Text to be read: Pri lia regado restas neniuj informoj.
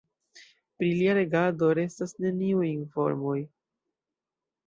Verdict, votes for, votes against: accepted, 2, 1